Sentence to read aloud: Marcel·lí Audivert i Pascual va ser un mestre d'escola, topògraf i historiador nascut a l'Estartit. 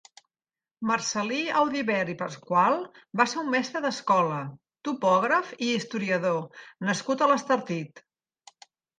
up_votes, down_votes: 2, 0